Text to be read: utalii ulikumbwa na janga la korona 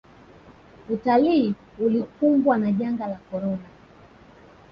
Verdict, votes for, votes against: rejected, 1, 2